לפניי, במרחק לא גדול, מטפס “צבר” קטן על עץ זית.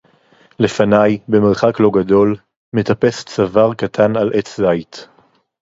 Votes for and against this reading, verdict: 2, 2, rejected